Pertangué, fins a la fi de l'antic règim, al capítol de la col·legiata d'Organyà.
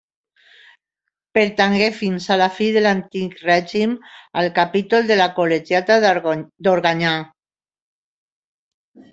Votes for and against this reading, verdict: 0, 2, rejected